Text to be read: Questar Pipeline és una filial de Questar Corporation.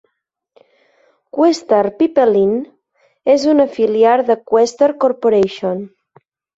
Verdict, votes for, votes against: rejected, 1, 2